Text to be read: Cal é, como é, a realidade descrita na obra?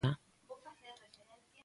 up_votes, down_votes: 0, 2